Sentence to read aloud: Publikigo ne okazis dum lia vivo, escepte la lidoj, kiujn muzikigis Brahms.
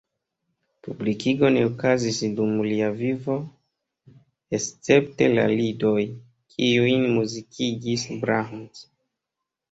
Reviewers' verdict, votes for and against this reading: rejected, 0, 2